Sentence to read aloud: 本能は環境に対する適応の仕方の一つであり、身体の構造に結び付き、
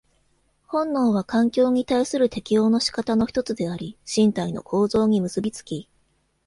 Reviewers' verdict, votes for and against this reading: accepted, 2, 0